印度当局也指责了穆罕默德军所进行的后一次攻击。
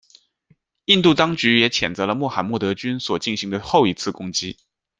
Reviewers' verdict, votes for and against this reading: rejected, 0, 2